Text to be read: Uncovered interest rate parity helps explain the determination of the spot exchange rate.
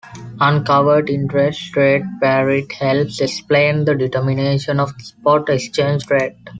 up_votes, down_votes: 0, 2